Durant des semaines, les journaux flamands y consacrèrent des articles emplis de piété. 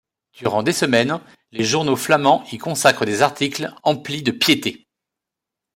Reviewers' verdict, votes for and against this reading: rejected, 1, 2